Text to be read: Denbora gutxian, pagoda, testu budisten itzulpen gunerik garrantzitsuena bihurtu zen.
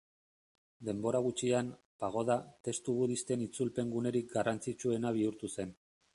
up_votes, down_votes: 2, 0